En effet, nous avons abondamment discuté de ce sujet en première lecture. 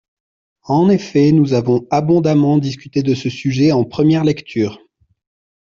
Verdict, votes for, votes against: accepted, 2, 0